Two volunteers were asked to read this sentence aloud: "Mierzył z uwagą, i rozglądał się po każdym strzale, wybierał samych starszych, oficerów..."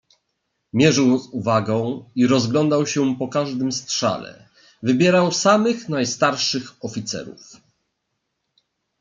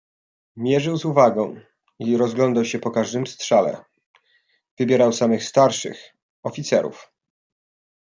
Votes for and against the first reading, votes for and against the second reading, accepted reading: 1, 2, 2, 0, second